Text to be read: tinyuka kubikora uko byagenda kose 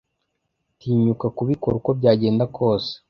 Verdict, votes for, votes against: accepted, 2, 0